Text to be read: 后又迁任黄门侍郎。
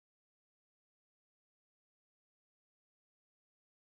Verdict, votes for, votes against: rejected, 1, 6